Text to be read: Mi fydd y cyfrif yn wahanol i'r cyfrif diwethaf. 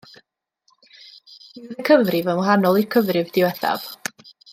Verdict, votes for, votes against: rejected, 1, 2